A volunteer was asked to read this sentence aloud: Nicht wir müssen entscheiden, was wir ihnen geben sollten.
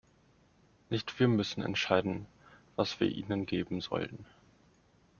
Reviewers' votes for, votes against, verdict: 2, 0, accepted